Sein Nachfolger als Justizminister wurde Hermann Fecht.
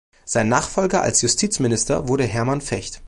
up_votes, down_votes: 2, 0